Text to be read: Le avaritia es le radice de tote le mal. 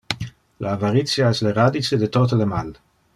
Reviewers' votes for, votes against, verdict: 1, 2, rejected